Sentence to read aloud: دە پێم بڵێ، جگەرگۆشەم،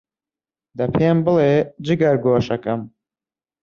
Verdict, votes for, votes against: accepted, 2, 0